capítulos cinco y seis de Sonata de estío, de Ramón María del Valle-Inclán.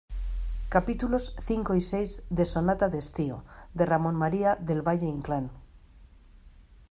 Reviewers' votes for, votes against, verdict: 2, 0, accepted